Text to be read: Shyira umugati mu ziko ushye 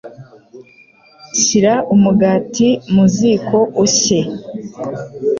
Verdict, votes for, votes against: accepted, 3, 0